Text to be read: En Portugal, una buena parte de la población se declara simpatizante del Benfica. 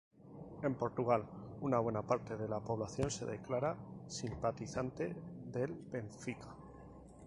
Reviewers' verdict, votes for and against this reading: accepted, 2, 0